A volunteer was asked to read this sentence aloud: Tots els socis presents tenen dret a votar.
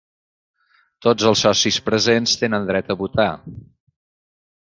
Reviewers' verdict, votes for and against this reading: accepted, 3, 0